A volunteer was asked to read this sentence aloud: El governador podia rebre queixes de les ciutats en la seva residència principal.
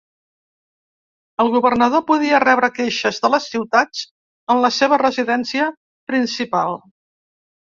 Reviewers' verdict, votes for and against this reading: accepted, 2, 0